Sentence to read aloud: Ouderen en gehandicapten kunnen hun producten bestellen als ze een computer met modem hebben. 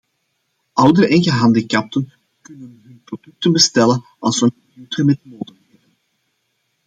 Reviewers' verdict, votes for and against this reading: rejected, 0, 2